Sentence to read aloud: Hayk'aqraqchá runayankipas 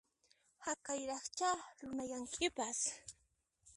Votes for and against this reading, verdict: 1, 2, rejected